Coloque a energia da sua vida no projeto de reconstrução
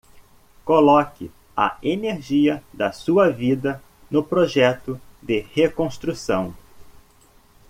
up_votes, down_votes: 2, 0